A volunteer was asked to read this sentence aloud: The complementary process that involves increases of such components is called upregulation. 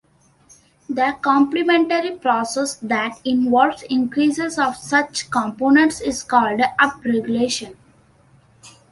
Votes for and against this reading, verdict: 2, 0, accepted